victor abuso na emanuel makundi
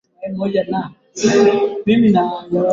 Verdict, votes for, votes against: rejected, 0, 2